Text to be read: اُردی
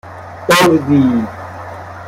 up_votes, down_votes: 2, 0